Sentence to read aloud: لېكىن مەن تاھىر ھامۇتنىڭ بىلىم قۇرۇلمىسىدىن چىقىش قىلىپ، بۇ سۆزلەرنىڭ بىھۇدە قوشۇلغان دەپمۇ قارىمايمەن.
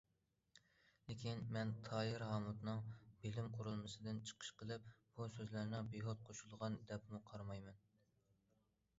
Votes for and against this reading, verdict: 1, 2, rejected